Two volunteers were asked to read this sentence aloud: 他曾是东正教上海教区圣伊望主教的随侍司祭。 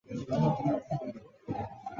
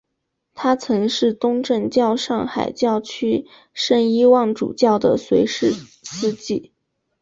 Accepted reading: second